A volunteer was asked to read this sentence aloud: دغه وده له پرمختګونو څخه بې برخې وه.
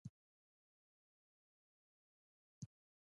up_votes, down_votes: 1, 2